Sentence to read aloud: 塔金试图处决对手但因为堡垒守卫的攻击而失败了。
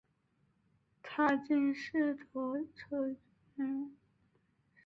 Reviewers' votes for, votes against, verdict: 0, 2, rejected